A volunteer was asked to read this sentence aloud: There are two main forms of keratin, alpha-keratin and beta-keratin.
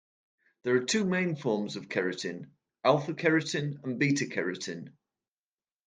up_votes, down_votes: 2, 0